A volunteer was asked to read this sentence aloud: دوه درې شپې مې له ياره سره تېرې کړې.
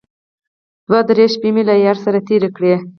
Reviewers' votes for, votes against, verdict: 4, 0, accepted